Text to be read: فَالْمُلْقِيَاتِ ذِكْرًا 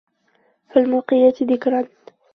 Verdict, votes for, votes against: rejected, 1, 2